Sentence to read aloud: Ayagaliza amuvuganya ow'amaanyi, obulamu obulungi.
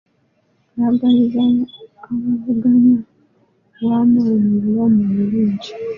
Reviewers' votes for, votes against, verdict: 0, 2, rejected